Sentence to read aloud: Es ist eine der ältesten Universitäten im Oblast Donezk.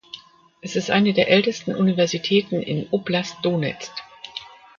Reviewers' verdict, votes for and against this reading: rejected, 1, 2